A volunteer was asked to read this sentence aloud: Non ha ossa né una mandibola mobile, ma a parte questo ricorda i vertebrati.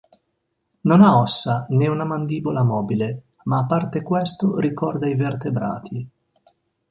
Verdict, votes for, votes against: accepted, 2, 0